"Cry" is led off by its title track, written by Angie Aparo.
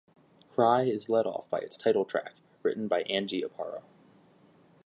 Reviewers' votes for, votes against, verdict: 2, 1, accepted